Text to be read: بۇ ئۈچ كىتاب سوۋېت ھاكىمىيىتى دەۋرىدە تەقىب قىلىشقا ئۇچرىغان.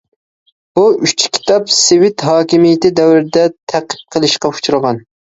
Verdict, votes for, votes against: rejected, 0, 2